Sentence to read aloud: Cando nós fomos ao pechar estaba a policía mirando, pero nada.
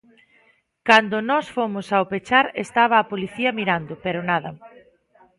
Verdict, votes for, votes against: accepted, 2, 0